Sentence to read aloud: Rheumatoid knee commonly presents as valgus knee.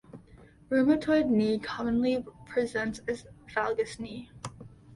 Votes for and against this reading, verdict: 2, 0, accepted